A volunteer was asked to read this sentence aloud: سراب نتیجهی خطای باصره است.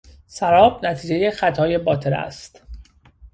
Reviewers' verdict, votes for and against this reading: rejected, 1, 2